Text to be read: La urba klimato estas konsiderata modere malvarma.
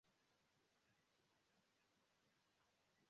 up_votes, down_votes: 0, 2